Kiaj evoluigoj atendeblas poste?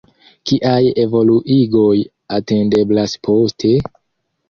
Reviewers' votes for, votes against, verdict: 2, 0, accepted